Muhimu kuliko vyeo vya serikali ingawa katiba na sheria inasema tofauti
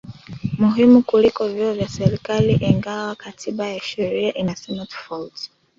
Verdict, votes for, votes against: rejected, 1, 2